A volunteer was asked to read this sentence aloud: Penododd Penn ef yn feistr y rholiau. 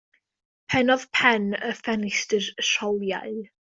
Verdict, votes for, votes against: rejected, 0, 2